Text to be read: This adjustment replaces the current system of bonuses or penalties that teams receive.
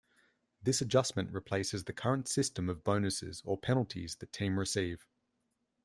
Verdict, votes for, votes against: rejected, 0, 2